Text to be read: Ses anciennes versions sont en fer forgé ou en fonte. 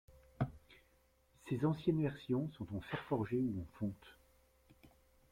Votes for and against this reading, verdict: 1, 2, rejected